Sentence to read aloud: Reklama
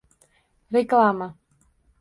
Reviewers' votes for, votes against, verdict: 2, 0, accepted